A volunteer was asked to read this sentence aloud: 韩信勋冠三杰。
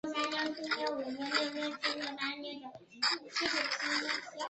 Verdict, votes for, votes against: accepted, 3, 1